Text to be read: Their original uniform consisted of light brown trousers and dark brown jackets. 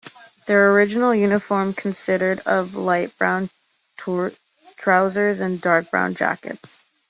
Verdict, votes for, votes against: rejected, 0, 2